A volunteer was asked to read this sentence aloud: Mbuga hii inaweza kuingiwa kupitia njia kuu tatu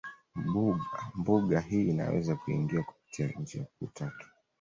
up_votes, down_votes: 1, 2